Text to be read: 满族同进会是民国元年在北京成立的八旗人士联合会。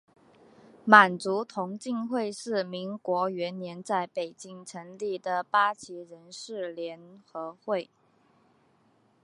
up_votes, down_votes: 7, 0